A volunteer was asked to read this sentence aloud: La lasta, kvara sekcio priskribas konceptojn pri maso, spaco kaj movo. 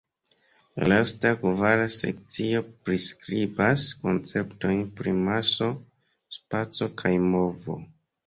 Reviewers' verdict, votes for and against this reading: rejected, 1, 2